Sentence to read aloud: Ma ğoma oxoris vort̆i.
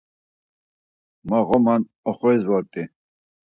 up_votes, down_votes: 4, 0